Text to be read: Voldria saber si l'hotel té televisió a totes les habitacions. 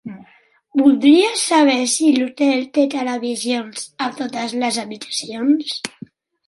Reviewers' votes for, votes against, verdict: 1, 2, rejected